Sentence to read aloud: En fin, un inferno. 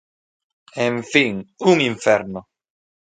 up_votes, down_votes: 3, 0